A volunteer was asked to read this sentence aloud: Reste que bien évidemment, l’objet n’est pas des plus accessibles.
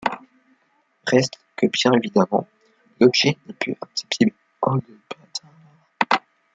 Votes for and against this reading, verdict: 0, 2, rejected